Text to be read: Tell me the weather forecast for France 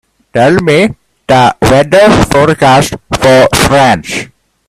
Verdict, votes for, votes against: rejected, 0, 2